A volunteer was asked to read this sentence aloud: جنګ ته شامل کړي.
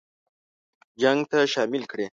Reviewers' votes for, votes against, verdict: 2, 0, accepted